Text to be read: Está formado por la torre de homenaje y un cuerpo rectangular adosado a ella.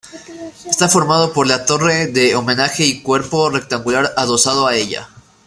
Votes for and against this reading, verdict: 0, 2, rejected